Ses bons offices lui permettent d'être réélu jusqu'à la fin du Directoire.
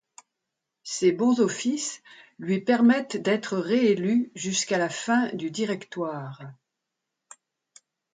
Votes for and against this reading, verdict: 2, 0, accepted